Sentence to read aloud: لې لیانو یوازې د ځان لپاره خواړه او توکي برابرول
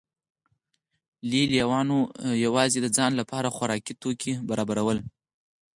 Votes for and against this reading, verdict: 2, 4, rejected